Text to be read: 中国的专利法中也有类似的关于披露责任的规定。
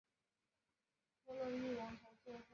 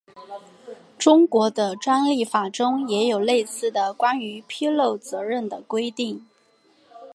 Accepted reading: second